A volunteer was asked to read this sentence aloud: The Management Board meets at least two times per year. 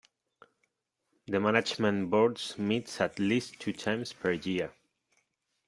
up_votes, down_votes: 1, 2